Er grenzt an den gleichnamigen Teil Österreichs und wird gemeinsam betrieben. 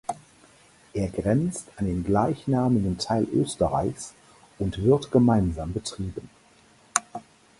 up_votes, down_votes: 4, 0